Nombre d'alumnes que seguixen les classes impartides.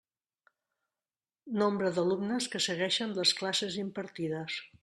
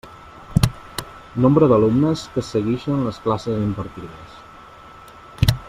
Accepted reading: first